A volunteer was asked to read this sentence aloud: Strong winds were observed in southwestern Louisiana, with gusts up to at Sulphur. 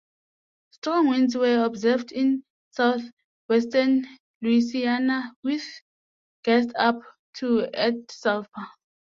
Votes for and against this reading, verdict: 0, 2, rejected